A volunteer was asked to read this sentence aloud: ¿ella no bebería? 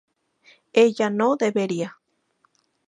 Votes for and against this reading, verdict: 0, 4, rejected